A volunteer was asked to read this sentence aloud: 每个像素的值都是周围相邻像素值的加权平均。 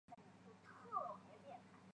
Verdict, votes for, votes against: rejected, 0, 3